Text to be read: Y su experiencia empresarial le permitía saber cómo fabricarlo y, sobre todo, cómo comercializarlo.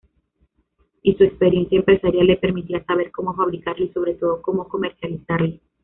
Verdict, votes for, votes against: accepted, 2, 1